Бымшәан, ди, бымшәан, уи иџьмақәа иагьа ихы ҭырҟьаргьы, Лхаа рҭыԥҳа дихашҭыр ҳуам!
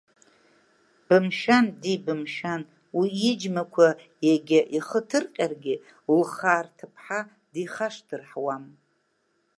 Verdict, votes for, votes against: rejected, 0, 2